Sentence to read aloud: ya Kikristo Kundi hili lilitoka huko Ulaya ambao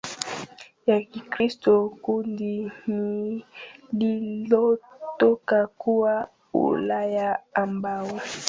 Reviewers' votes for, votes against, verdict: 0, 2, rejected